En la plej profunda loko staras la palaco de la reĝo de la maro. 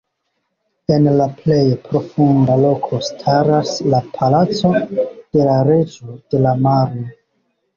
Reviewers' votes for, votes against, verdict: 0, 3, rejected